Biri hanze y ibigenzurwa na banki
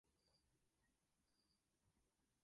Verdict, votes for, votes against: rejected, 0, 2